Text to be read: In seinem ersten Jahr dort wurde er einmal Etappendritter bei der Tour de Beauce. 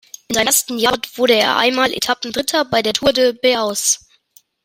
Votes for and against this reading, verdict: 1, 2, rejected